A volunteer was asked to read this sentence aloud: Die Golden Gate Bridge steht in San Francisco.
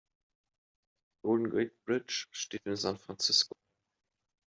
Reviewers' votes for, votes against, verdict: 0, 2, rejected